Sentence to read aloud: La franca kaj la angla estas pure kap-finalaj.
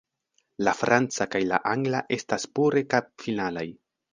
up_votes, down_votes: 2, 0